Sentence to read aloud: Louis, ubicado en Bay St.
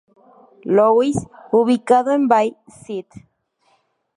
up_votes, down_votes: 2, 0